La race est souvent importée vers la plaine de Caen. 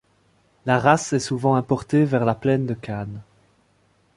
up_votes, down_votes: 0, 2